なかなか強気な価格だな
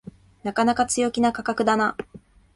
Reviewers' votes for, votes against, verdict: 2, 0, accepted